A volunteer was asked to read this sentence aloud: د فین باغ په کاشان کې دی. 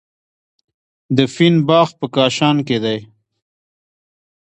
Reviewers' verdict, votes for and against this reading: accepted, 2, 1